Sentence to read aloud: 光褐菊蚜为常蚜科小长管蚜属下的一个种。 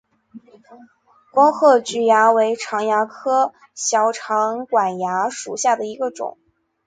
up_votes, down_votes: 3, 0